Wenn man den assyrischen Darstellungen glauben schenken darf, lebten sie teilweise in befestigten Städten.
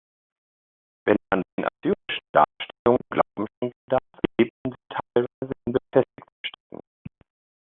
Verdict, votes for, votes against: rejected, 0, 2